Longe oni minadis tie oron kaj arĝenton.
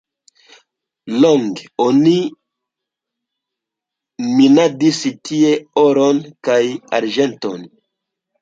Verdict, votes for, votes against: rejected, 1, 2